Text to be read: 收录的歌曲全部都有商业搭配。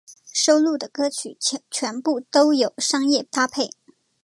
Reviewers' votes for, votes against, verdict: 2, 1, accepted